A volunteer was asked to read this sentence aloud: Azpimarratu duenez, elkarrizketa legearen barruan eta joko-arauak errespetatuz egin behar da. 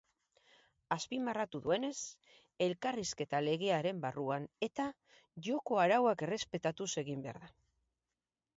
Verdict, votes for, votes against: rejected, 2, 2